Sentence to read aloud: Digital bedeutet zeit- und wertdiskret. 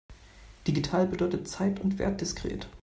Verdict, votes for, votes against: rejected, 0, 2